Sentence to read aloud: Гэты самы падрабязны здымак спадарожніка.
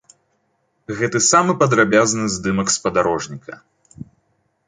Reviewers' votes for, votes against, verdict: 2, 0, accepted